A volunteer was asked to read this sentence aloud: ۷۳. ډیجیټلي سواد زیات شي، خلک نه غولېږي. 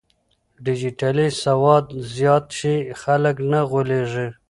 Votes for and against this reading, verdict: 0, 2, rejected